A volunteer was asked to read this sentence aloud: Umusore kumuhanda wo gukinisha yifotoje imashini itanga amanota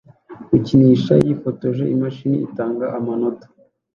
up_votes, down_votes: 0, 2